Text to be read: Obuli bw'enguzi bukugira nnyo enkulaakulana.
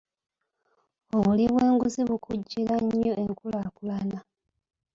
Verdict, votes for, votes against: rejected, 1, 2